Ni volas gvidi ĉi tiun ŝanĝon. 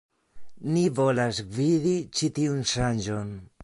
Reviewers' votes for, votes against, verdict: 2, 0, accepted